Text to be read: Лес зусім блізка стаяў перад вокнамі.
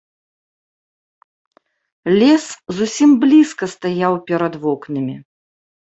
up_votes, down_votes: 3, 0